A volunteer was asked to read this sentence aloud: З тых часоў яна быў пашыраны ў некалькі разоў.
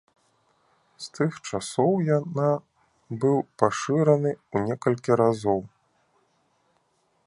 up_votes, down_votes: 2, 0